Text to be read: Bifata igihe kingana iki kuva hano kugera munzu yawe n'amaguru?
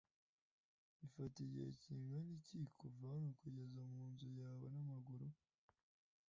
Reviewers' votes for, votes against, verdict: 2, 0, accepted